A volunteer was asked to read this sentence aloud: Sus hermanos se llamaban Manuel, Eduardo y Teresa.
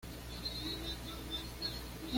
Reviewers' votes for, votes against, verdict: 1, 2, rejected